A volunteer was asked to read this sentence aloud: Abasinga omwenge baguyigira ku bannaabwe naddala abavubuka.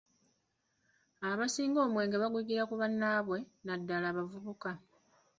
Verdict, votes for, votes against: accepted, 2, 0